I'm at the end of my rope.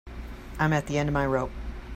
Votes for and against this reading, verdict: 3, 0, accepted